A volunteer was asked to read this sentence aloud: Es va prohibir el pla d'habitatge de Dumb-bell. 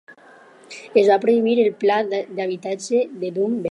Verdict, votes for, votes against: accepted, 4, 0